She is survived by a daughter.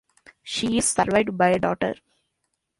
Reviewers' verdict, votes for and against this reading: accepted, 2, 0